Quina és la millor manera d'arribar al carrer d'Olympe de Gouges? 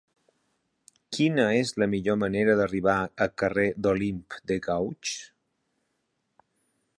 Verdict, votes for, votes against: rejected, 1, 2